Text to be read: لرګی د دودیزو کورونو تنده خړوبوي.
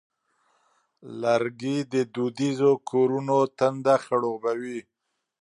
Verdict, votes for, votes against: accepted, 2, 0